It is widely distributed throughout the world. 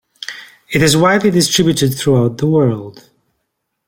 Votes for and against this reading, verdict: 2, 0, accepted